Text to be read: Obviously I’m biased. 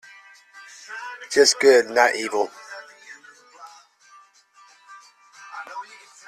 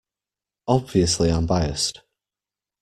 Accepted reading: second